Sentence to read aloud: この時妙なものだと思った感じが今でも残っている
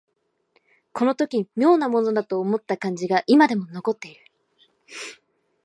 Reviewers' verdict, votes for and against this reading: accepted, 2, 0